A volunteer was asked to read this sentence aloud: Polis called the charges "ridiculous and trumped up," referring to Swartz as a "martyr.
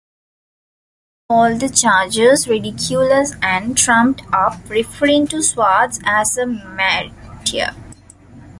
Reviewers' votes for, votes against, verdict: 0, 2, rejected